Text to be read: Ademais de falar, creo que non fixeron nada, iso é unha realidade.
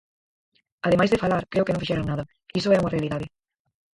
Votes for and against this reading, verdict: 0, 4, rejected